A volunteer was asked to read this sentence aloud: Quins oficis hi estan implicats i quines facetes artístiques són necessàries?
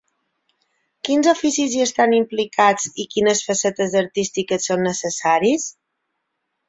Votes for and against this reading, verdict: 0, 9, rejected